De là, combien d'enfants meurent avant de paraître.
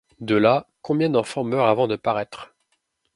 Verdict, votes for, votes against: accepted, 2, 1